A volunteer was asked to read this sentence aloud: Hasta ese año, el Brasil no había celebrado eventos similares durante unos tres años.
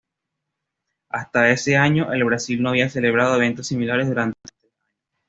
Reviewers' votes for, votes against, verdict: 1, 2, rejected